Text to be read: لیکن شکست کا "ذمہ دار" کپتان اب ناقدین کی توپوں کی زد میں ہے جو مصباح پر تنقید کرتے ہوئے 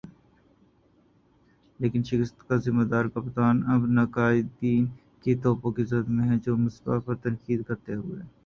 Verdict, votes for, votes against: rejected, 1, 3